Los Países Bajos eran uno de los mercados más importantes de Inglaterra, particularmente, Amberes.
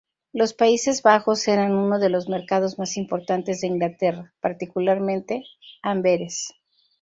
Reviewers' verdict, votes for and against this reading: accepted, 2, 0